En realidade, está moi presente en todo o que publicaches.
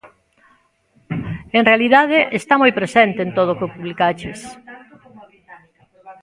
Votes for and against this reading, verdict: 0, 2, rejected